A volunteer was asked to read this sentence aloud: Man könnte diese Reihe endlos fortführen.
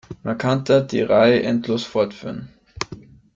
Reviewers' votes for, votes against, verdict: 0, 2, rejected